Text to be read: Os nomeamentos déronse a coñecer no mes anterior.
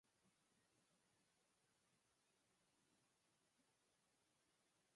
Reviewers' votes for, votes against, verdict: 0, 2, rejected